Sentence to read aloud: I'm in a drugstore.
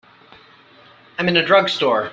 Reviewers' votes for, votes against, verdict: 3, 0, accepted